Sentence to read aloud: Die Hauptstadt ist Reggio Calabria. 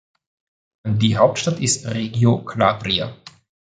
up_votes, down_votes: 1, 2